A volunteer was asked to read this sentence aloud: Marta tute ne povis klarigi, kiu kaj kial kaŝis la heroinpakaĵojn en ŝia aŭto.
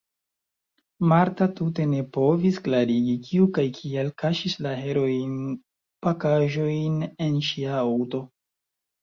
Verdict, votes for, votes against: rejected, 0, 3